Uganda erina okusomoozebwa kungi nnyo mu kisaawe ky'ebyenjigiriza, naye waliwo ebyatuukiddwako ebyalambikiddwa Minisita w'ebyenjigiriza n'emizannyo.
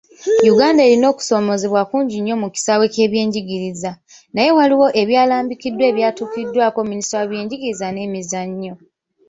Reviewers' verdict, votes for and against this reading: rejected, 0, 2